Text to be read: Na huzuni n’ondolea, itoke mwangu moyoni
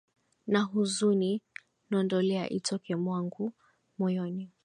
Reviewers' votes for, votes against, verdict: 1, 2, rejected